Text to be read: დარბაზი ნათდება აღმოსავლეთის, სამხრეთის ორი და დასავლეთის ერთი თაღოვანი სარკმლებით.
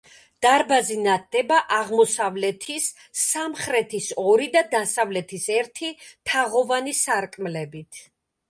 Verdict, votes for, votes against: accepted, 4, 0